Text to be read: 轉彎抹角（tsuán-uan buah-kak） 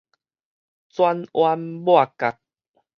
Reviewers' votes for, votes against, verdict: 4, 0, accepted